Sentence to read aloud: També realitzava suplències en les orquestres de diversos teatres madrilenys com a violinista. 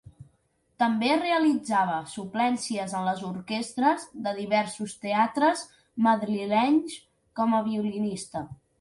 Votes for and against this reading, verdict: 2, 0, accepted